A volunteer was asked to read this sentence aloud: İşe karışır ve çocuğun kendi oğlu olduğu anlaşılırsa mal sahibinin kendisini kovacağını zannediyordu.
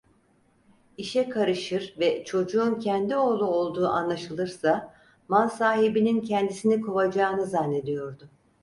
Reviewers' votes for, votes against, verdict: 4, 0, accepted